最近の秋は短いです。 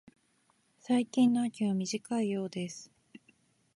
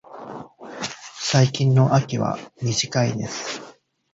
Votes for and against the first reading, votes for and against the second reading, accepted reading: 0, 2, 2, 0, second